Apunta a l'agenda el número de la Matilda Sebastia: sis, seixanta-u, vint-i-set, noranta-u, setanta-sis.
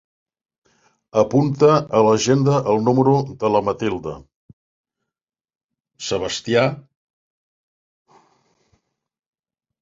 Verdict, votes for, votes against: rejected, 0, 4